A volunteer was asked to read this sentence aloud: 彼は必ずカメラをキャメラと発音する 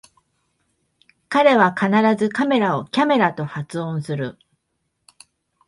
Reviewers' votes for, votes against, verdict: 2, 0, accepted